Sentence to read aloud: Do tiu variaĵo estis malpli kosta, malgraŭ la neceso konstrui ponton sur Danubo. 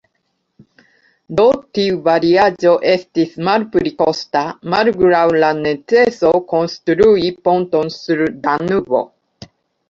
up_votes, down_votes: 1, 3